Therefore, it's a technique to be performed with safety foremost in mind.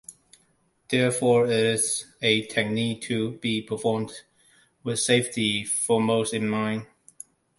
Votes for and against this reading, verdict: 2, 0, accepted